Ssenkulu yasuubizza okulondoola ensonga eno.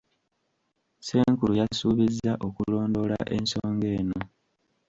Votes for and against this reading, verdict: 3, 0, accepted